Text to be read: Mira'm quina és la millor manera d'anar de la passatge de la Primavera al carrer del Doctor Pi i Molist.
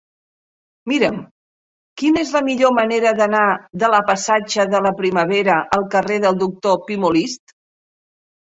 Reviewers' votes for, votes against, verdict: 1, 2, rejected